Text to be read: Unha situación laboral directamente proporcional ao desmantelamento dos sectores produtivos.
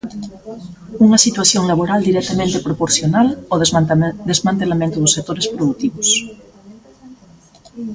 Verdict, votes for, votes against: rejected, 0, 3